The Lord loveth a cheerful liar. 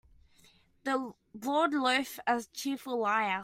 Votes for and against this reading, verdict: 1, 2, rejected